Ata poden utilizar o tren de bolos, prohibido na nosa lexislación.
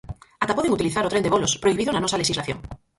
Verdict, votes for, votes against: rejected, 0, 4